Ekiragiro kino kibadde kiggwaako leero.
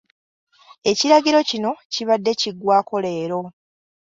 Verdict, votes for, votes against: accepted, 2, 0